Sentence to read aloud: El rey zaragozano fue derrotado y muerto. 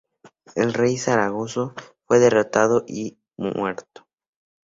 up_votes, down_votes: 2, 2